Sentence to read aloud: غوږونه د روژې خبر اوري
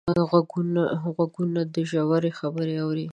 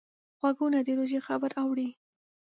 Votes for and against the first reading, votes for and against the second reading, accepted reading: 1, 2, 2, 0, second